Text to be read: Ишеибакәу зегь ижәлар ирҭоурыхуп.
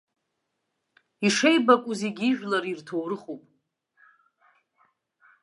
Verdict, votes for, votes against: accepted, 3, 0